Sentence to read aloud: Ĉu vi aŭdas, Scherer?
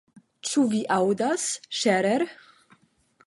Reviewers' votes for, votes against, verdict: 5, 0, accepted